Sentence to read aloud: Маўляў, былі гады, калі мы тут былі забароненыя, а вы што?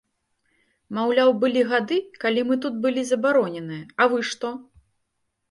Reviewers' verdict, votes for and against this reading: accepted, 2, 0